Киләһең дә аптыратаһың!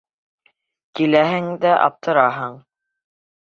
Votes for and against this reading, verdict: 1, 2, rejected